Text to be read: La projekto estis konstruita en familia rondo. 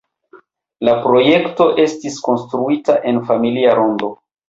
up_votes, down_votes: 0, 2